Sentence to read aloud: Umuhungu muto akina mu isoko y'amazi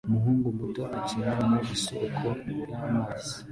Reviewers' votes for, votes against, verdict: 2, 0, accepted